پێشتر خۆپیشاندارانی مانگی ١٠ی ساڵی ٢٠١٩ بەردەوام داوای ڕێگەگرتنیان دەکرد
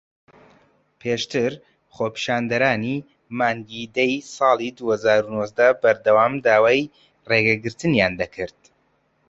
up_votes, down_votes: 0, 2